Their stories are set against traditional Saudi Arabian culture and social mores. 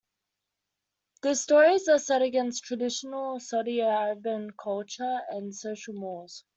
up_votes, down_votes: 2, 0